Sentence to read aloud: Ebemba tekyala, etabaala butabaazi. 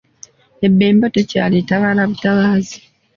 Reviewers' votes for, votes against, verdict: 2, 0, accepted